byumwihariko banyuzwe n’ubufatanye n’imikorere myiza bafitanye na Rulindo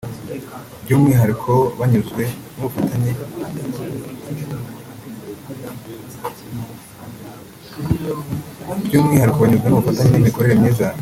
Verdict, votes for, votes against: rejected, 1, 2